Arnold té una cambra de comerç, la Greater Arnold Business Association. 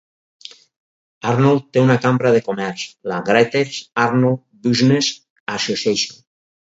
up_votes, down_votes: 2, 2